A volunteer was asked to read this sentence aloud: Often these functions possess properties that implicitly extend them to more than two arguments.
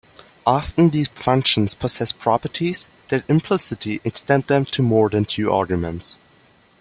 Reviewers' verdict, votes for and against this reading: accepted, 2, 0